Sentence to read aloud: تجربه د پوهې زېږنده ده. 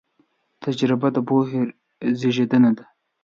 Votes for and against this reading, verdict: 0, 2, rejected